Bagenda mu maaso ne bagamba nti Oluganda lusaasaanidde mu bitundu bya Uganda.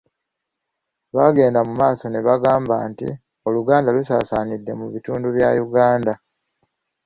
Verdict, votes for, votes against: accepted, 2, 0